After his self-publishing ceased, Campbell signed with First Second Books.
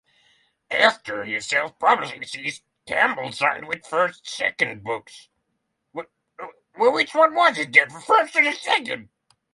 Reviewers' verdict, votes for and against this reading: rejected, 0, 6